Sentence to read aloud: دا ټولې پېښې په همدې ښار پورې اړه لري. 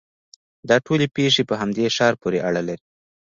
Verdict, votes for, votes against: accepted, 2, 1